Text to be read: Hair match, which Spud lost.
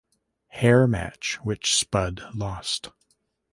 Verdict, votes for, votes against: accepted, 2, 0